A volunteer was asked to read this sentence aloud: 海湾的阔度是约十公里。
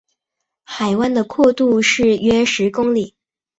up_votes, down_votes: 2, 0